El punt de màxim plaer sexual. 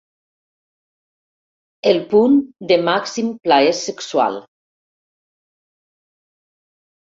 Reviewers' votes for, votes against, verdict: 2, 0, accepted